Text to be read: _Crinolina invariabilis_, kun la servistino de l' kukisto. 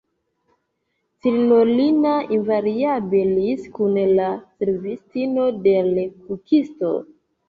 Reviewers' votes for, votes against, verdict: 0, 2, rejected